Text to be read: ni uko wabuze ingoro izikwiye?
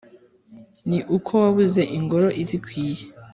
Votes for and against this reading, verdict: 2, 0, accepted